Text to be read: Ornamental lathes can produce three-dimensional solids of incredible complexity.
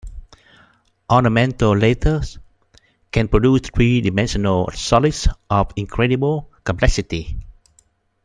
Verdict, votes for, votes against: rejected, 1, 2